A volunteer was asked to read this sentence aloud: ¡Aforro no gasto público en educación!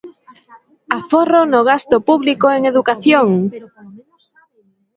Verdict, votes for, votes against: accepted, 2, 1